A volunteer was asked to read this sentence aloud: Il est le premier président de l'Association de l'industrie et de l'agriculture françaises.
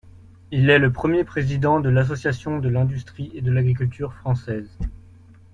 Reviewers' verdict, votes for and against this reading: accepted, 2, 0